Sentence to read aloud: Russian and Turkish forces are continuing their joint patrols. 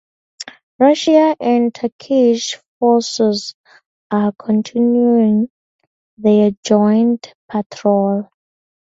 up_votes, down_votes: 0, 2